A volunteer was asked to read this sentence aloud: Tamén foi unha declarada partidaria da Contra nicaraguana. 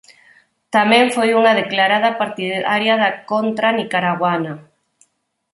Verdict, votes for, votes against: rejected, 0, 4